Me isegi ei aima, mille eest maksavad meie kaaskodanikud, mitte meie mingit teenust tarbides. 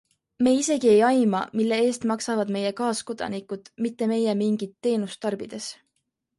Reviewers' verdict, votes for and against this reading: accepted, 2, 0